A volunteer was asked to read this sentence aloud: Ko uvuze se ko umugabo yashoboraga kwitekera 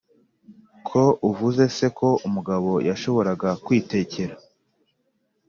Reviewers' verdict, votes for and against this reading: accepted, 2, 0